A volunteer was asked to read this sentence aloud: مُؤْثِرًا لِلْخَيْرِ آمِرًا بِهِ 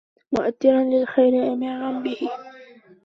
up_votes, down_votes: 0, 2